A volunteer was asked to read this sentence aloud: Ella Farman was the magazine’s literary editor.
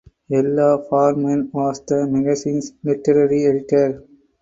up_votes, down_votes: 4, 0